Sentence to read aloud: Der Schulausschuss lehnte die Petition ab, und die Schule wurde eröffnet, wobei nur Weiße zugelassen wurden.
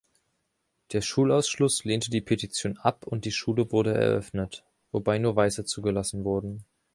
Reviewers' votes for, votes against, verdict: 0, 2, rejected